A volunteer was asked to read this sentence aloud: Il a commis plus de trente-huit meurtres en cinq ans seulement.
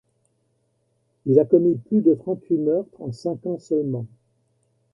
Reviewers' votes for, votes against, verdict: 1, 2, rejected